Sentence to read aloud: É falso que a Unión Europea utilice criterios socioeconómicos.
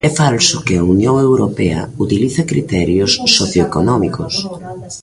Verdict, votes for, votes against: rejected, 2, 3